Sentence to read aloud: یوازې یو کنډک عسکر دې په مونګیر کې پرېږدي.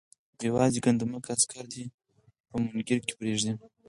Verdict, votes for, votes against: rejected, 2, 4